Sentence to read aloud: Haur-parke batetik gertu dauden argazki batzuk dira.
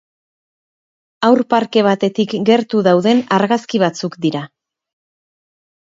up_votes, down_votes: 6, 0